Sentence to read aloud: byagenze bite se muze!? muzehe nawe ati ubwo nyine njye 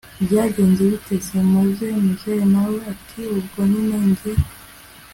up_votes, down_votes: 2, 0